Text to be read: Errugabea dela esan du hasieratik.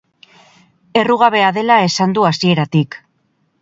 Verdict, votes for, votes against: accepted, 6, 0